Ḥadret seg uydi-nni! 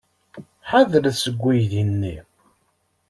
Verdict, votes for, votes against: accepted, 2, 0